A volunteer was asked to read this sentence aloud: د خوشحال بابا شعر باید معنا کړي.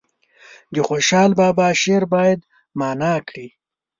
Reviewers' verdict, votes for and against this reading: accepted, 2, 0